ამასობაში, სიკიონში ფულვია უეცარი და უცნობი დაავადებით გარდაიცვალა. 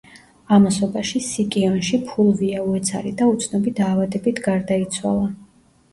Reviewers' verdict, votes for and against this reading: rejected, 1, 2